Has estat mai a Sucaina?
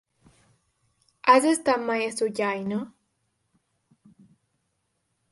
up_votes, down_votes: 1, 2